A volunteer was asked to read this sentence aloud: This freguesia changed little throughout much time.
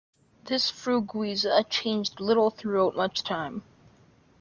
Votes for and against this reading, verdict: 2, 0, accepted